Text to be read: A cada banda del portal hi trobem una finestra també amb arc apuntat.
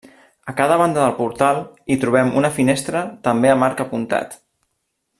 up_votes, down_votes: 2, 0